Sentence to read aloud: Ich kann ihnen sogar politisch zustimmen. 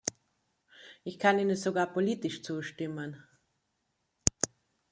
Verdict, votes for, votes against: rejected, 0, 2